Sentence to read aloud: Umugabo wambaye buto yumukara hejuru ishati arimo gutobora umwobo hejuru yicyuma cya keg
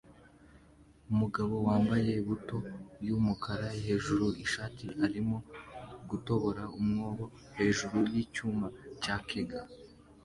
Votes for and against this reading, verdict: 2, 1, accepted